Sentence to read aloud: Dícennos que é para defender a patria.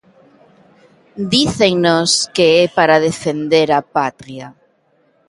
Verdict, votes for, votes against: accepted, 2, 0